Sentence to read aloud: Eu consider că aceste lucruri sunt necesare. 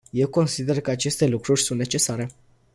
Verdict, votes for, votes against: accepted, 2, 0